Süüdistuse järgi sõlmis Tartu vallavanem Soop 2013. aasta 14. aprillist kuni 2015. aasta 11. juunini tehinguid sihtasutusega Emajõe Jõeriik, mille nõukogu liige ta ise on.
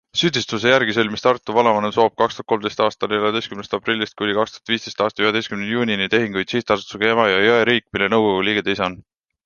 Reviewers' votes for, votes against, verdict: 0, 2, rejected